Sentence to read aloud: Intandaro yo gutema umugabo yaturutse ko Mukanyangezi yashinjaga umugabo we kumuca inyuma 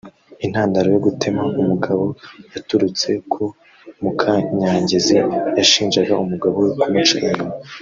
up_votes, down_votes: 1, 2